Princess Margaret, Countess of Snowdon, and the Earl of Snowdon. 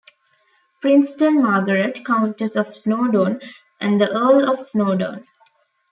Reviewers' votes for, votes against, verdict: 0, 2, rejected